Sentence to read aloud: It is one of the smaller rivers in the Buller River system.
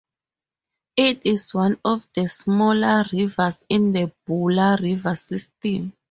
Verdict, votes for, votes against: rejected, 2, 4